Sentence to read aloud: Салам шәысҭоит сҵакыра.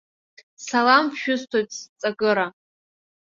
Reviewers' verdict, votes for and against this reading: accepted, 2, 0